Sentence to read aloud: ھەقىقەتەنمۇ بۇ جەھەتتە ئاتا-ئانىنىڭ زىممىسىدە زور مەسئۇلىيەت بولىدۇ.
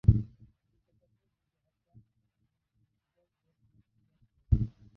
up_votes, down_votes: 0, 2